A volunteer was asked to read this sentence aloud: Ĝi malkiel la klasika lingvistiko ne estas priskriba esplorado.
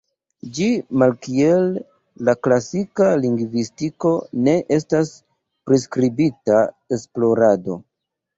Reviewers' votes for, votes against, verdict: 1, 2, rejected